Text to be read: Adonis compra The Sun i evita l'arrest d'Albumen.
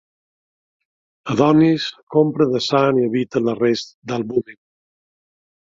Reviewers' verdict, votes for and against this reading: accepted, 2, 0